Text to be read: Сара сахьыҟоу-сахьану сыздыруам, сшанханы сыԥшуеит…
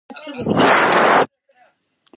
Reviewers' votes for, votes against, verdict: 0, 2, rejected